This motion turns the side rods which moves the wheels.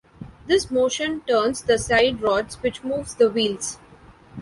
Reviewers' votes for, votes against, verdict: 2, 0, accepted